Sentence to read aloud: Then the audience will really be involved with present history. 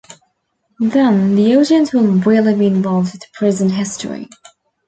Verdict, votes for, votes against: rejected, 1, 2